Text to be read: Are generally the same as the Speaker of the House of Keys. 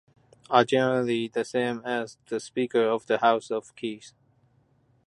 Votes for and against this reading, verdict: 2, 0, accepted